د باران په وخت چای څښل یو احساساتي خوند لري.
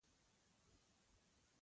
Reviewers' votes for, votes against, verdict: 0, 2, rejected